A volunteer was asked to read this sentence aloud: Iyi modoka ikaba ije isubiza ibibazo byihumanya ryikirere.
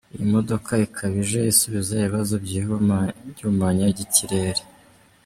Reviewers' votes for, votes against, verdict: 1, 2, rejected